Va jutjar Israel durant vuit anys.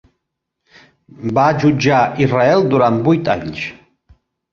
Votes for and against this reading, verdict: 2, 0, accepted